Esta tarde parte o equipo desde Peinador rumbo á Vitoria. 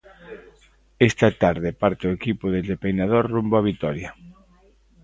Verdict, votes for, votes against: accepted, 2, 1